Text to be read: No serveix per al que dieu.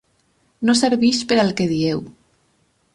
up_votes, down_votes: 4, 0